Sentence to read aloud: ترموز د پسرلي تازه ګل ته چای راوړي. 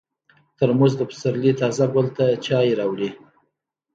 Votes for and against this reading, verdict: 2, 0, accepted